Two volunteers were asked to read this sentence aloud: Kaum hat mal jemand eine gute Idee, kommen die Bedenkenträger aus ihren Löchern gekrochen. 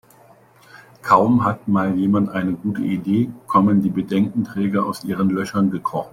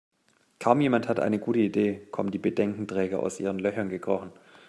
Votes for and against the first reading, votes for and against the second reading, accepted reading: 2, 0, 0, 2, first